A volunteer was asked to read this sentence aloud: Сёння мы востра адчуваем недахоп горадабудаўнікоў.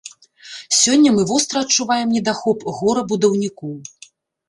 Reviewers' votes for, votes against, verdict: 0, 2, rejected